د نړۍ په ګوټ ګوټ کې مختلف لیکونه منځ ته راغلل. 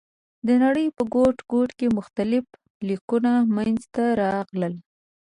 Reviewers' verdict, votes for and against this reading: accepted, 2, 0